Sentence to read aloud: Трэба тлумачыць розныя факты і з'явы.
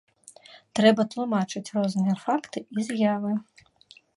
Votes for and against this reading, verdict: 2, 0, accepted